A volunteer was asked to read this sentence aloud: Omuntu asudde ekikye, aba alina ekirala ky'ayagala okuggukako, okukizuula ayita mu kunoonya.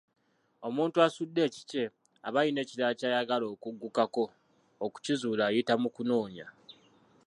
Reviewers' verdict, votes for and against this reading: rejected, 0, 2